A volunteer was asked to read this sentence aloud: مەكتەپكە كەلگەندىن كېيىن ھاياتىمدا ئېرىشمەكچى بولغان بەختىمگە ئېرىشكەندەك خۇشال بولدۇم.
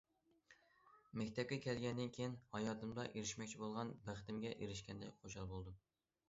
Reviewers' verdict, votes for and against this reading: accepted, 2, 0